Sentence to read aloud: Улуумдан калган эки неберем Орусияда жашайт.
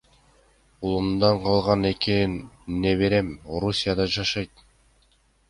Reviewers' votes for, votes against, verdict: 2, 0, accepted